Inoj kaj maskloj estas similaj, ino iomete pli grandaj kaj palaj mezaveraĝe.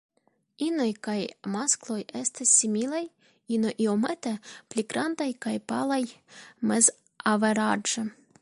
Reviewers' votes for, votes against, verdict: 2, 1, accepted